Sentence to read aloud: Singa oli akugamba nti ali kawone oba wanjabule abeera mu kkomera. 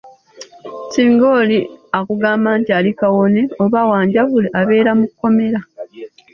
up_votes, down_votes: 2, 0